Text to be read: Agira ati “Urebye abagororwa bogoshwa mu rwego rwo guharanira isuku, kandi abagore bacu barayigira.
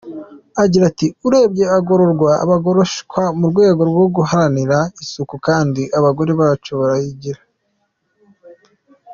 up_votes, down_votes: 1, 2